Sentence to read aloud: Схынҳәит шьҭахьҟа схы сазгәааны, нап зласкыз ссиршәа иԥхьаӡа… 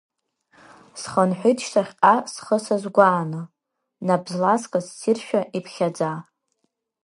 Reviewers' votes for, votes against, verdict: 2, 0, accepted